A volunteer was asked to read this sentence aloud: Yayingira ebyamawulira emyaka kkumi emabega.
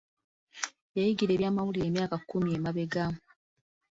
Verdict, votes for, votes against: accepted, 2, 0